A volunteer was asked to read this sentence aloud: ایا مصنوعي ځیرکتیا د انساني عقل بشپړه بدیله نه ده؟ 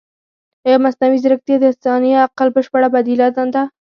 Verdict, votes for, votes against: rejected, 0, 4